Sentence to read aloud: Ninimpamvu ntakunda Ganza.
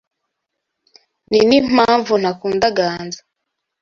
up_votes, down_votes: 2, 0